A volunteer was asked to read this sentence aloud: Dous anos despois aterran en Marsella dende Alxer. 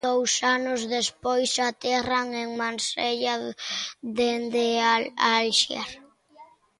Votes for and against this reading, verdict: 1, 2, rejected